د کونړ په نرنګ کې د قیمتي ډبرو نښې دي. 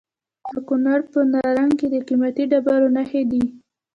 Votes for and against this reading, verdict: 1, 2, rejected